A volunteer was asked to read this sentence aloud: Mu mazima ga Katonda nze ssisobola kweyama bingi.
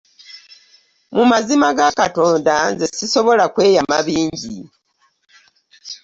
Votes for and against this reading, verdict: 3, 0, accepted